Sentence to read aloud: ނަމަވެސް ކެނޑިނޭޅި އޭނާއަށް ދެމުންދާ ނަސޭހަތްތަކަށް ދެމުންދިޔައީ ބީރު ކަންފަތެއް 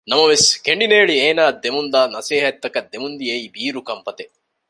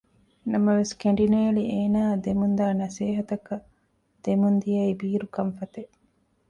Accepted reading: first